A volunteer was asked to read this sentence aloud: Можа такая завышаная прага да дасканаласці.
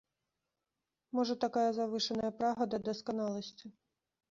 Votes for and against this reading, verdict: 2, 0, accepted